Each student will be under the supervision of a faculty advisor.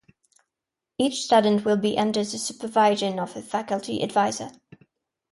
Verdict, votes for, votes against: rejected, 0, 2